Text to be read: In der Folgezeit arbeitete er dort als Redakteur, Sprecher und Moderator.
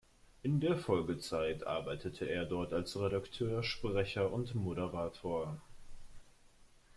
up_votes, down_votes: 2, 0